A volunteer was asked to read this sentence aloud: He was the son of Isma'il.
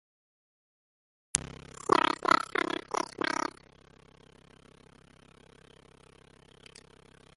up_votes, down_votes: 0, 2